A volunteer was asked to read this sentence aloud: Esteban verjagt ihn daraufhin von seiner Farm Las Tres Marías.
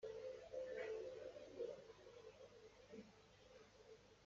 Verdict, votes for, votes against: rejected, 0, 2